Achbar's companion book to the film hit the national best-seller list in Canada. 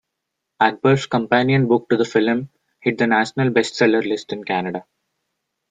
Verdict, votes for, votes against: accepted, 2, 1